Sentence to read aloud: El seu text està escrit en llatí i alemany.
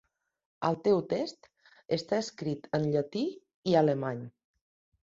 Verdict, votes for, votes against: rejected, 0, 2